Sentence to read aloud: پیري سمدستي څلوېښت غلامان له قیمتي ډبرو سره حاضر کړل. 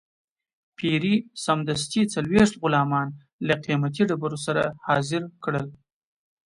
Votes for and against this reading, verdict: 2, 0, accepted